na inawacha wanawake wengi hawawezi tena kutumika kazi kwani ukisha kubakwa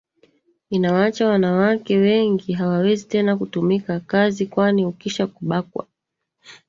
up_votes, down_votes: 2, 3